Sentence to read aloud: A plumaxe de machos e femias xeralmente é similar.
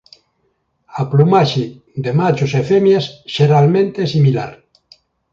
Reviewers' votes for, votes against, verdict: 2, 0, accepted